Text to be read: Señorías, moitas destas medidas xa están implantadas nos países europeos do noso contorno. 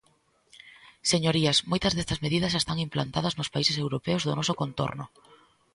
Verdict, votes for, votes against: accepted, 2, 0